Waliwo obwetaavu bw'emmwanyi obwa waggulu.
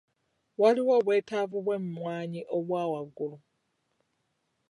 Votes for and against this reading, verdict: 2, 0, accepted